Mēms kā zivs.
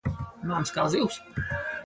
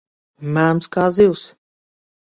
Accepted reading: second